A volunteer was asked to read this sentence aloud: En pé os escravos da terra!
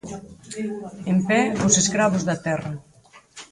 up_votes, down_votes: 2, 4